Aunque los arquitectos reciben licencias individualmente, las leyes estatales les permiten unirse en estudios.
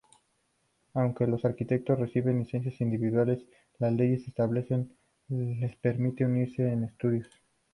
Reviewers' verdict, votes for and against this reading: accepted, 2, 0